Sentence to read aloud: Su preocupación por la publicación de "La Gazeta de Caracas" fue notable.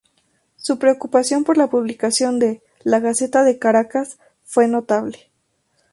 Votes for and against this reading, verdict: 2, 0, accepted